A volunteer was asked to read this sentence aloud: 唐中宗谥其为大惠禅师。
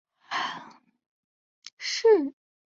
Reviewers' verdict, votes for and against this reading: rejected, 0, 2